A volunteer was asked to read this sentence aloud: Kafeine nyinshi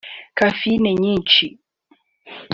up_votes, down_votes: 2, 0